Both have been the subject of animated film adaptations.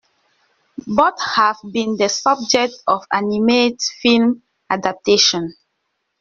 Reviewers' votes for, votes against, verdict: 0, 2, rejected